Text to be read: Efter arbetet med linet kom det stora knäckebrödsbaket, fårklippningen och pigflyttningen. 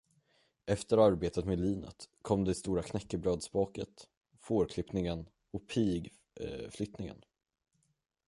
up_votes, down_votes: 0, 10